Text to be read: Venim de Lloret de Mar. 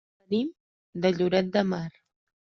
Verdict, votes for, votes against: rejected, 0, 2